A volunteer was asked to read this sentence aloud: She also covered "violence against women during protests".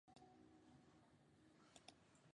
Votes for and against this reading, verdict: 0, 2, rejected